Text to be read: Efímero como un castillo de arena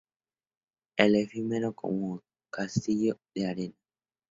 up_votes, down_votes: 2, 0